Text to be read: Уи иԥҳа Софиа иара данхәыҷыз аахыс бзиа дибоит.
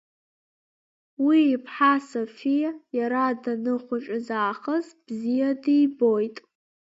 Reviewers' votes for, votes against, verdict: 2, 1, accepted